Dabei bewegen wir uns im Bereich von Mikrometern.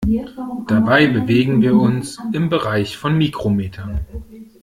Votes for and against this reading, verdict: 1, 2, rejected